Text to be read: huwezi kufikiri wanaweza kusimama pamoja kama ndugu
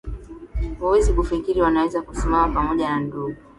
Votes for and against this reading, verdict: 2, 0, accepted